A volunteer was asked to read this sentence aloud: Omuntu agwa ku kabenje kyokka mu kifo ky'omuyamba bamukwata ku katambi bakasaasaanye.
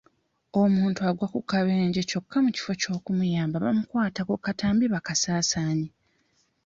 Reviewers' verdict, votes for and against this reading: accepted, 2, 1